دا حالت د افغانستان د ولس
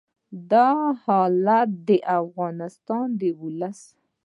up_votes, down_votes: 2, 0